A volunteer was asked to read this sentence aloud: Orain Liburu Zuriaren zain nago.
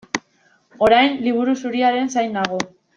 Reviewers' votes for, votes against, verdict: 2, 0, accepted